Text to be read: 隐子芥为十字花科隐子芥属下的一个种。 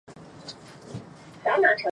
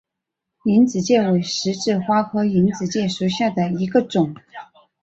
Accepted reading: second